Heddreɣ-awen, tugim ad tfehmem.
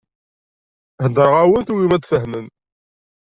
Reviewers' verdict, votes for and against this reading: rejected, 1, 2